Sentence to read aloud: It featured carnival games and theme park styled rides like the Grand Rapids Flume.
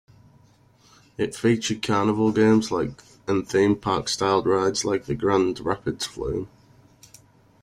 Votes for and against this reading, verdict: 0, 2, rejected